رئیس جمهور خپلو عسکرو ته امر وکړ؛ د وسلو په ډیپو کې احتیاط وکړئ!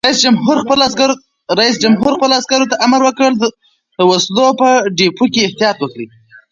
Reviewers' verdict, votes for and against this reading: rejected, 0, 2